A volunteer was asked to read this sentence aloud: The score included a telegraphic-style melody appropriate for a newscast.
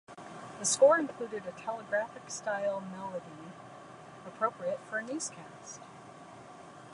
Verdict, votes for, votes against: accepted, 2, 0